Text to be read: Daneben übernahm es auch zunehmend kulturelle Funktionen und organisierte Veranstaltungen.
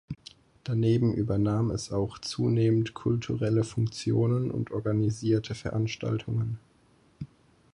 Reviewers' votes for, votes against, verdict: 4, 0, accepted